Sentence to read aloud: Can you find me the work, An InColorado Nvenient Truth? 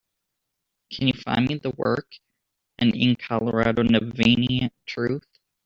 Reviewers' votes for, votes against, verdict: 0, 2, rejected